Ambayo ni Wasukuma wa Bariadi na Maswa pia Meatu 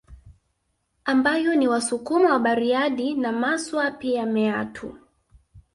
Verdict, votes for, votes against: accepted, 2, 0